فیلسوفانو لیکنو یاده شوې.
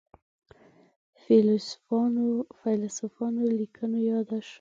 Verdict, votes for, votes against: rejected, 1, 2